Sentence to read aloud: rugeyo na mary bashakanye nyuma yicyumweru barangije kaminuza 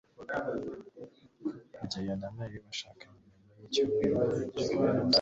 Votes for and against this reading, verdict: 2, 1, accepted